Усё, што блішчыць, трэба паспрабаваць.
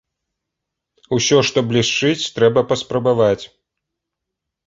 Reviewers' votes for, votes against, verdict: 2, 0, accepted